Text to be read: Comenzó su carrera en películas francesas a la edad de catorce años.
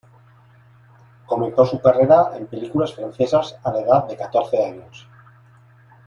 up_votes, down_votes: 3, 0